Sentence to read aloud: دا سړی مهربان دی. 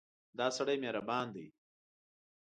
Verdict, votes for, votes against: accepted, 2, 0